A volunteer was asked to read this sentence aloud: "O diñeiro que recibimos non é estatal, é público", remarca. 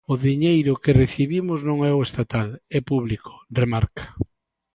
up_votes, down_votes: 0, 2